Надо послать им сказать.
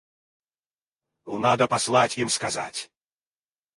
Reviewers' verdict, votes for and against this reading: rejected, 2, 4